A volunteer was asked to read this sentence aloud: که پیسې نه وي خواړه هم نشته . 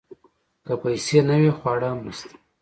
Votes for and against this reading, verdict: 2, 0, accepted